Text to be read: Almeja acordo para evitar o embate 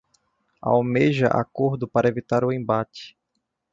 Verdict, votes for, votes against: accepted, 2, 0